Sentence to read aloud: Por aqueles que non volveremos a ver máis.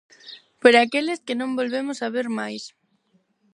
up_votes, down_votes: 0, 4